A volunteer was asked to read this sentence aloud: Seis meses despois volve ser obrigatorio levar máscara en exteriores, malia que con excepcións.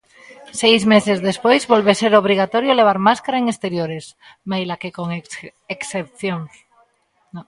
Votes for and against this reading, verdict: 0, 2, rejected